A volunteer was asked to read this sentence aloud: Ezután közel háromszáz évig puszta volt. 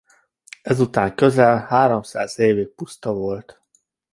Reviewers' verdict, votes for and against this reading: accepted, 2, 0